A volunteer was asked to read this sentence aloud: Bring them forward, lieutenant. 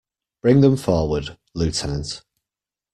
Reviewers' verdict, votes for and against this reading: accepted, 2, 0